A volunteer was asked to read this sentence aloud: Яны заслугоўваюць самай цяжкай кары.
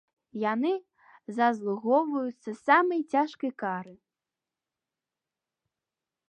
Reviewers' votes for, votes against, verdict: 1, 2, rejected